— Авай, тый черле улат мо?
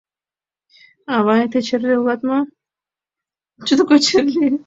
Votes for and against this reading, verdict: 0, 2, rejected